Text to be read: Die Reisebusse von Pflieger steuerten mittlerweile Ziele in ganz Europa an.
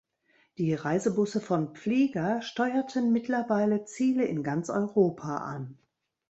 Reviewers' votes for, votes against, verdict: 2, 0, accepted